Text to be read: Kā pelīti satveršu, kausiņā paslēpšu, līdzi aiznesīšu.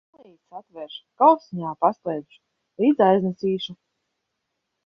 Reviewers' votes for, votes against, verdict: 0, 2, rejected